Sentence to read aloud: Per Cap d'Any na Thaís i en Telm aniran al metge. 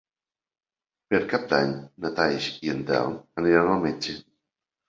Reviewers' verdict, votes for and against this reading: rejected, 1, 2